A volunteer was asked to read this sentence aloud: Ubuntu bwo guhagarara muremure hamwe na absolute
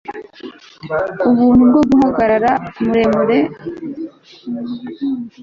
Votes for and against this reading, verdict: 1, 2, rejected